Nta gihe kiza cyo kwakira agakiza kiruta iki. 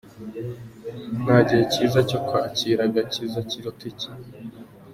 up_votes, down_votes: 0, 2